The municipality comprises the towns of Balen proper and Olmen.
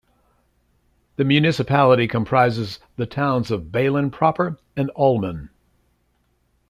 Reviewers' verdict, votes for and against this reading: accepted, 2, 0